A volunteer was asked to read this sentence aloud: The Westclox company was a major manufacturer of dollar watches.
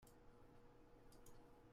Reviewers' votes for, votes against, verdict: 0, 2, rejected